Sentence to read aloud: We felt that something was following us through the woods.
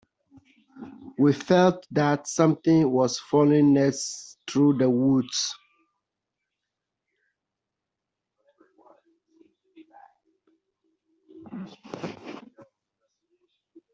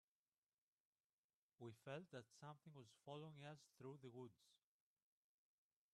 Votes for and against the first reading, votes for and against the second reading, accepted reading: 1, 2, 3, 2, second